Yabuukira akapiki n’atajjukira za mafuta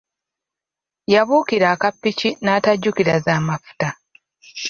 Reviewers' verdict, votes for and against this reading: accepted, 2, 0